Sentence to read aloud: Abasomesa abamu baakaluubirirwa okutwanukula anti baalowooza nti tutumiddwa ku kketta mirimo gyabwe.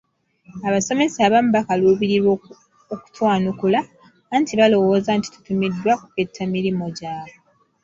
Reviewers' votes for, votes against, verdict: 2, 0, accepted